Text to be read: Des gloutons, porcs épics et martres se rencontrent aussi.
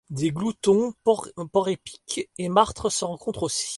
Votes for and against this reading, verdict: 0, 2, rejected